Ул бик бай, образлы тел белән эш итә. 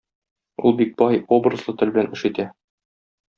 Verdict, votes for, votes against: accepted, 2, 0